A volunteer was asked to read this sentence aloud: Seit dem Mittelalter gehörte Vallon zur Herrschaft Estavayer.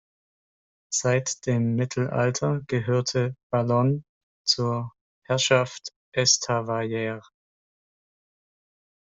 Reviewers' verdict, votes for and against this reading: rejected, 0, 2